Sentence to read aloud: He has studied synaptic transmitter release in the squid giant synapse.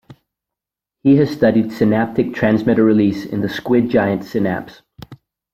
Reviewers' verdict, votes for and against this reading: accepted, 2, 0